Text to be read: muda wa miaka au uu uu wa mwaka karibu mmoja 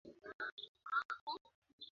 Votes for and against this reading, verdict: 0, 3, rejected